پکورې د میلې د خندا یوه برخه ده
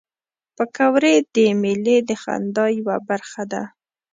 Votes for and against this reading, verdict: 3, 0, accepted